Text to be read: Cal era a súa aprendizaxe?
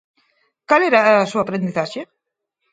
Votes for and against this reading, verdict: 2, 4, rejected